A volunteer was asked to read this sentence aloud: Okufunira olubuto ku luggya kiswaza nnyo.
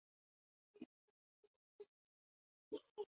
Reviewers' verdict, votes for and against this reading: rejected, 0, 2